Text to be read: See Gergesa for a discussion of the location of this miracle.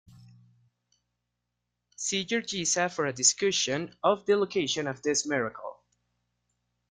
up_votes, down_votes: 2, 0